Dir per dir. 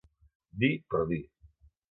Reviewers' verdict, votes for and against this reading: accepted, 3, 0